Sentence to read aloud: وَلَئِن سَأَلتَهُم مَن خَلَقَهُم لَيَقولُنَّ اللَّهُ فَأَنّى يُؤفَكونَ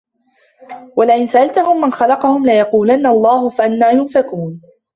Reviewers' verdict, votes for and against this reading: rejected, 1, 2